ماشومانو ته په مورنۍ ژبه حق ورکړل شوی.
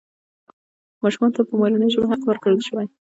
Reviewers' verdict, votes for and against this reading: rejected, 1, 2